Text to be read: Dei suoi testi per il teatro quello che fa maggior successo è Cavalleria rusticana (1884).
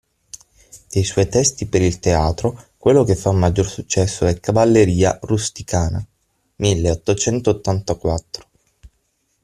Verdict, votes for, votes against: rejected, 0, 2